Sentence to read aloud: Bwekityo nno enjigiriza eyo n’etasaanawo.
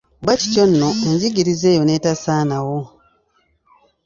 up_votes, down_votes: 2, 0